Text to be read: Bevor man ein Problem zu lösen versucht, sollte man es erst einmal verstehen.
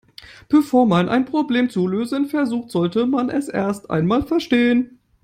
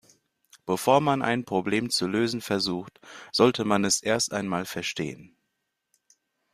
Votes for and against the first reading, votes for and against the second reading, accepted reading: 1, 2, 2, 1, second